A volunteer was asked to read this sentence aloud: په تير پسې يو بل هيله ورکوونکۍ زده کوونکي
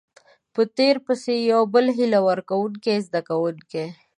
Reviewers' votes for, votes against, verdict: 2, 0, accepted